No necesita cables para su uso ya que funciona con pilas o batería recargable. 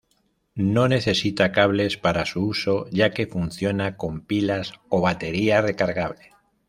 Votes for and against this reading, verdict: 2, 0, accepted